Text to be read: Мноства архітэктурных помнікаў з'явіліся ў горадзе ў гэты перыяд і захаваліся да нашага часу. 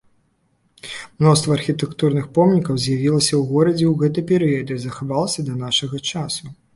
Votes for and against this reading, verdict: 1, 2, rejected